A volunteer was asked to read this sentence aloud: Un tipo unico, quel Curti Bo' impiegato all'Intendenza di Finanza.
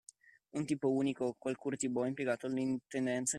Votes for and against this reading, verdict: 0, 2, rejected